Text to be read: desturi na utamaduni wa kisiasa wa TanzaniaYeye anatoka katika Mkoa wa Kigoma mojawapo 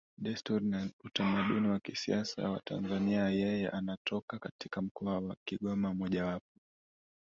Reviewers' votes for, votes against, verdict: 1, 2, rejected